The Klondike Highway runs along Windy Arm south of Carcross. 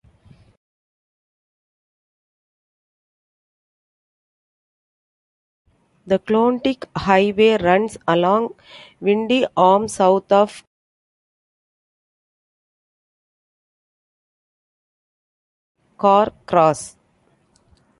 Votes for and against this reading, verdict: 0, 2, rejected